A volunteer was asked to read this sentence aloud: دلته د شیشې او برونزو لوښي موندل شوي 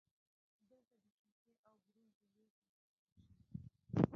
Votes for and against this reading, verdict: 0, 2, rejected